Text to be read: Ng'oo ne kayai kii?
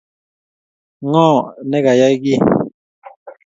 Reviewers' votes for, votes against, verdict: 2, 0, accepted